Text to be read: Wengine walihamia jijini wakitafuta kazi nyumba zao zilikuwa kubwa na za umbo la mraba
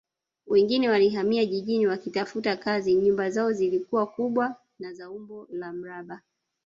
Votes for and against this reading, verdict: 1, 2, rejected